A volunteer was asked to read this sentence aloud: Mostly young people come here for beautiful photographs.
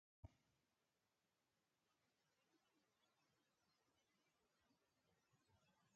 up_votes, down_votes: 0, 2